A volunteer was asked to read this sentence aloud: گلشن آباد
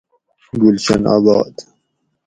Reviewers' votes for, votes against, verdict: 2, 0, accepted